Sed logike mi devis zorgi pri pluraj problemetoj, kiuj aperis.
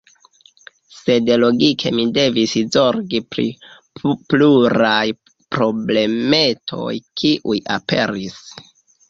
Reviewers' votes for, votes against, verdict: 0, 2, rejected